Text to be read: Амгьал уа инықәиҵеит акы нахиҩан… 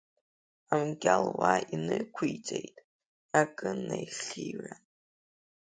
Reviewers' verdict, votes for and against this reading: accepted, 3, 2